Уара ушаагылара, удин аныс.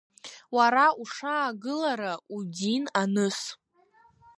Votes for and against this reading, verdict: 2, 0, accepted